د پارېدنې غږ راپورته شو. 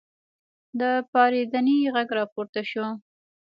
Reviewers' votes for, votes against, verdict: 1, 2, rejected